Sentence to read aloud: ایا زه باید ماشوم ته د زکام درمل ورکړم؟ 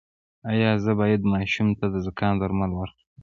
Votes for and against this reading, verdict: 2, 3, rejected